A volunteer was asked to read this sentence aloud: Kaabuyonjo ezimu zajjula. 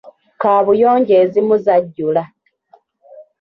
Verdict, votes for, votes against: accepted, 2, 1